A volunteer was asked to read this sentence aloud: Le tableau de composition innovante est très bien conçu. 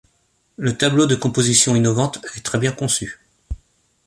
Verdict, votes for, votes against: accepted, 2, 0